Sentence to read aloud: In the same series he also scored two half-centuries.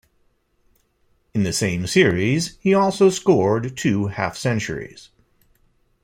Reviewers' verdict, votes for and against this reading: accepted, 2, 1